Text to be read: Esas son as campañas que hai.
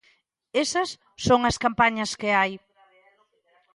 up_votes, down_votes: 2, 0